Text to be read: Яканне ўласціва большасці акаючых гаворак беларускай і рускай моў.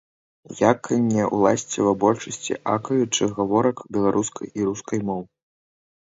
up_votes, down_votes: 0, 2